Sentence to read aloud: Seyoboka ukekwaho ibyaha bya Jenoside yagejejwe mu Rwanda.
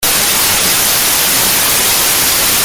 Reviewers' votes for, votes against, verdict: 0, 2, rejected